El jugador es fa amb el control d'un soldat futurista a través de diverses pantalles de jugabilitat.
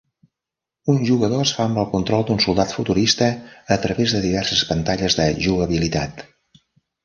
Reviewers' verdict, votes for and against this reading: rejected, 1, 2